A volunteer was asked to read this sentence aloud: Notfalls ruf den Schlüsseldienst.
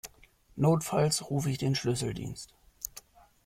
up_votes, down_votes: 1, 2